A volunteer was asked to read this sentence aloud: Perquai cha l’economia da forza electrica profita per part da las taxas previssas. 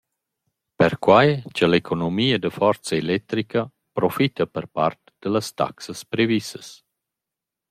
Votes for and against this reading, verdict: 2, 0, accepted